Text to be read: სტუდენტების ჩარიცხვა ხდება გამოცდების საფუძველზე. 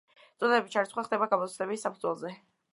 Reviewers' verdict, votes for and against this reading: accepted, 2, 1